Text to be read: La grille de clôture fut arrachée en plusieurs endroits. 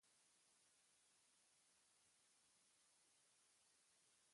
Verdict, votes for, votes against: rejected, 0, 2